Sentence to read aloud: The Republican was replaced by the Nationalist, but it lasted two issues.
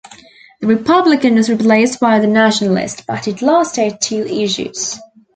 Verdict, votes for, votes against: rejected, 1, 2